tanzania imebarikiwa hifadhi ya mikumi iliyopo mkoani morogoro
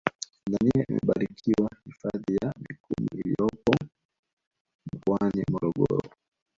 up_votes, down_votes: 1, 3